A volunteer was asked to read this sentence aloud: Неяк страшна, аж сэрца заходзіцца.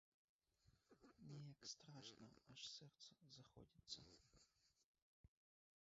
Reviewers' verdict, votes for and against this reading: rejected, 1, 2